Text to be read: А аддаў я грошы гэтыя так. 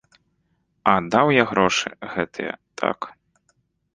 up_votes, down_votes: 0, 2